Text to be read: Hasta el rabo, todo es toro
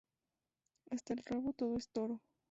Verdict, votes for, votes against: accepted, 2, 0